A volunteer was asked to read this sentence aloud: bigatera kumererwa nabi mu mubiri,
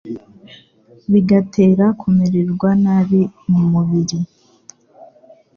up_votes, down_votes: 2, 0